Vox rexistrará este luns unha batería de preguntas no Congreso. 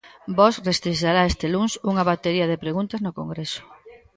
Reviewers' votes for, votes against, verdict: 0, 2, rejected